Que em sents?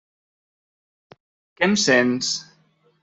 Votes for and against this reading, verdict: 1, 2, rejected